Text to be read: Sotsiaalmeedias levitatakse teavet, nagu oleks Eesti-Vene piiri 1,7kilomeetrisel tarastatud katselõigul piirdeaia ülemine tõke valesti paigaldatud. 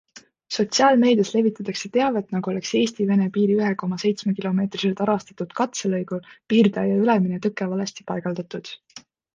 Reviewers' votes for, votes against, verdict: 0, 2, rejected